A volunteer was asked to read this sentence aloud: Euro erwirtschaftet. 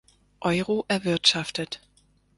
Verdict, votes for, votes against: accepted, 4, 0